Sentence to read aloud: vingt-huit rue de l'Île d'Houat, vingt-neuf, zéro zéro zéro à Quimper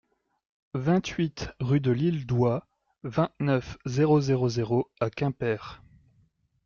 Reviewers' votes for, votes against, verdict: 2, 0, accepted